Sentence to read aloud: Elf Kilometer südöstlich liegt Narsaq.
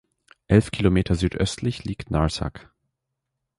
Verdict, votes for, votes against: accepted, 2, 0